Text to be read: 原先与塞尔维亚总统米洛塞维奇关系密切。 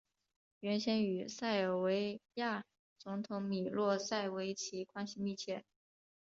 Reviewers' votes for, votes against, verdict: 1, 2, rejected